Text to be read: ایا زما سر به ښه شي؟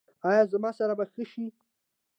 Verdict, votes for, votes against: accepted, 2, 0